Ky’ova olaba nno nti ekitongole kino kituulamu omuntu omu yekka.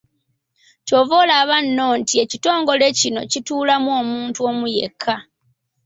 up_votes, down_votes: 2, 0